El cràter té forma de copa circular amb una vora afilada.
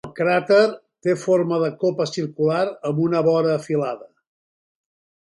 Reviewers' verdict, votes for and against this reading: rejected, 0, 2